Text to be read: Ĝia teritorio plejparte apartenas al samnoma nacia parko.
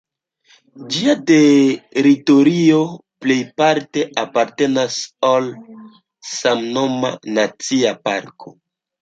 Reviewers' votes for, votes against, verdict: 0, 2, rejected